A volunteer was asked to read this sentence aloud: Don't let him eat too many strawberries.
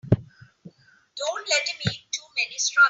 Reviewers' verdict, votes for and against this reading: rejected, 2, 3